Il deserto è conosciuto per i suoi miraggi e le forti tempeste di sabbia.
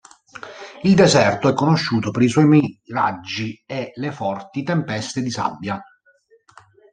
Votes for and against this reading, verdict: 1, 2, rejected